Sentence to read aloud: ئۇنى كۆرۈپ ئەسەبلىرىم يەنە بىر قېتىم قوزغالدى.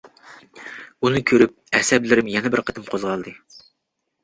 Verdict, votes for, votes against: accepted, 2, 0